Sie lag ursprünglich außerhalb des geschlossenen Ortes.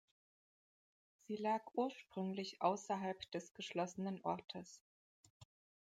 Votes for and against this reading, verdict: 2, 0, accepted